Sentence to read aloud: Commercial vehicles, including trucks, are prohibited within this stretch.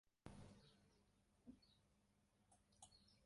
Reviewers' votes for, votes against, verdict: 0, 2, rejected